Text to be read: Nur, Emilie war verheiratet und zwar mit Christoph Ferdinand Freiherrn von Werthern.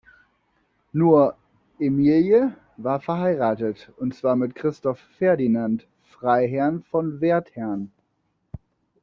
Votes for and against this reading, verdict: 2, 0, accepted